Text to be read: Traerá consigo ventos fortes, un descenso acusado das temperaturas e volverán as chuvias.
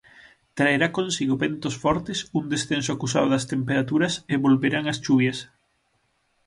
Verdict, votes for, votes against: accepted, 6, 0